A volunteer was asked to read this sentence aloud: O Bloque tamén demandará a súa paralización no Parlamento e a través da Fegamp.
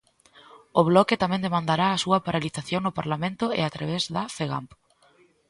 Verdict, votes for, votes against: accepted, 2, 1